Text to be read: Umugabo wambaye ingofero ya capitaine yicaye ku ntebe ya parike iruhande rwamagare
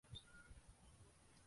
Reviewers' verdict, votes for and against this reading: rejected, 0, 2